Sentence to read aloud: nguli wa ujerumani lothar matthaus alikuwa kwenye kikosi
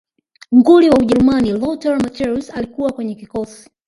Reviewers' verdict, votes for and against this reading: rejected, 0, 2